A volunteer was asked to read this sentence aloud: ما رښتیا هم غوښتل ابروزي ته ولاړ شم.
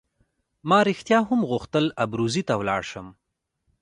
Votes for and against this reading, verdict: 0, 2, rejected